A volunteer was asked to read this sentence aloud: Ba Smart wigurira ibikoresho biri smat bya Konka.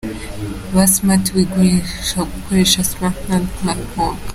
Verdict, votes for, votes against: accepted, 2, 0